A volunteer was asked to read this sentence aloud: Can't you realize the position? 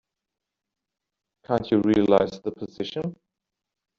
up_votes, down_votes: 2, 1